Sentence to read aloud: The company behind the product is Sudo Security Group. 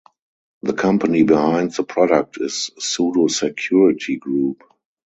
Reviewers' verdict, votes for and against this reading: rejected, 2, 2